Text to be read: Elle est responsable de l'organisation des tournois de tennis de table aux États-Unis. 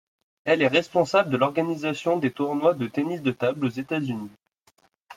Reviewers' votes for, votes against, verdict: 2, 0, accepted